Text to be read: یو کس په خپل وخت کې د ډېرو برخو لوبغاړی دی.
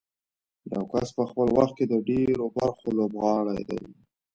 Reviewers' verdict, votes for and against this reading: accepted, 2, 1